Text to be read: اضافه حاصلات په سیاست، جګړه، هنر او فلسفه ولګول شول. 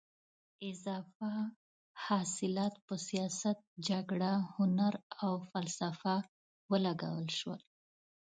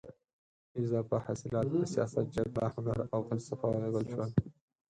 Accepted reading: first